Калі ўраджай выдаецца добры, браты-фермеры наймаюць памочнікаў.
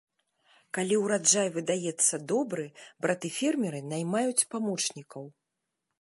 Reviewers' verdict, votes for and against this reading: accepted, 2, 0